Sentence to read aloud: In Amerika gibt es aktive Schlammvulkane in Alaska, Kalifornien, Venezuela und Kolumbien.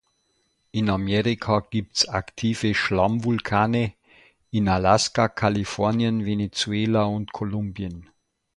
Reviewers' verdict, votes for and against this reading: rejected, 1, 2